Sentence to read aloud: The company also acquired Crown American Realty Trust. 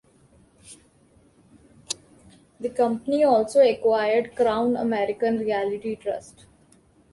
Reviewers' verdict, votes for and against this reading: rejected, 1, 2